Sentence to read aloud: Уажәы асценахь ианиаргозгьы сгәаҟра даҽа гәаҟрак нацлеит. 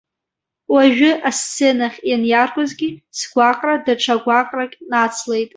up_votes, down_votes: 1, 2